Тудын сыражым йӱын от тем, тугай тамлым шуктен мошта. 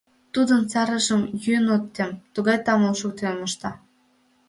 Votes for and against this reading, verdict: 0, 2, rejected